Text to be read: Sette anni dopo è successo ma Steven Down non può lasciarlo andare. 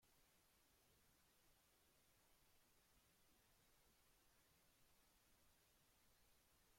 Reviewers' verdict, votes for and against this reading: rejected, 0, 2